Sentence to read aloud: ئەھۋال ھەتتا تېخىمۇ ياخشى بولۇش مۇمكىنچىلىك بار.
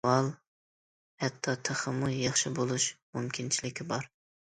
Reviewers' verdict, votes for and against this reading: rejected, 0, 2